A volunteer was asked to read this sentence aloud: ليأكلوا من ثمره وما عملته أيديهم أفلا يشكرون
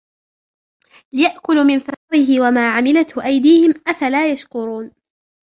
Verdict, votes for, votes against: rejected, 0, 2